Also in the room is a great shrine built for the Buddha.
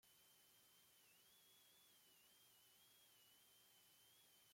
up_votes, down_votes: 0, 2